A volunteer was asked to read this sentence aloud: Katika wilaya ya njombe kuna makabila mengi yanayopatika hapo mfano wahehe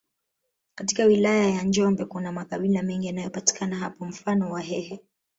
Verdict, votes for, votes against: rejected, 1, 2